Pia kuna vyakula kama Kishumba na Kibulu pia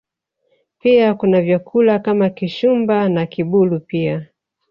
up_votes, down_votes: 1, 2